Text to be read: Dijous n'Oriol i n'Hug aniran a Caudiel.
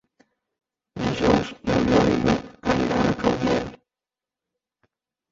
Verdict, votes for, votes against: rejected, 0, 2